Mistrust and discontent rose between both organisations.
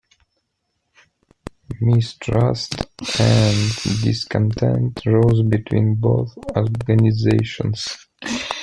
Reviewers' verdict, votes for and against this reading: rejected, 0, 2